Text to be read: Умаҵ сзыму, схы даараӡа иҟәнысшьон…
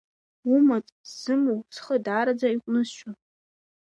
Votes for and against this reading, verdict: 2, 0, accepted